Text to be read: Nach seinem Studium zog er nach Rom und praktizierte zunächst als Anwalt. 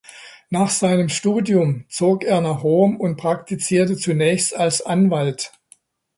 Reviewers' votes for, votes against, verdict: 2, 0, accepted